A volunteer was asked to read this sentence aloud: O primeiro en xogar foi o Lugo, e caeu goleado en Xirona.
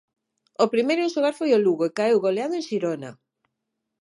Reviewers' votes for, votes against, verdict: 9, 0, accepted